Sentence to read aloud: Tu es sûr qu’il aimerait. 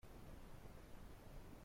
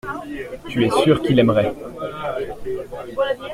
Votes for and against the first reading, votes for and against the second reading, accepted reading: 0, 2, 2, 0, second